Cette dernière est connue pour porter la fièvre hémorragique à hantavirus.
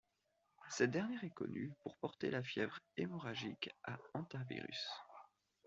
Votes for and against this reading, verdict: 2, 0, accepted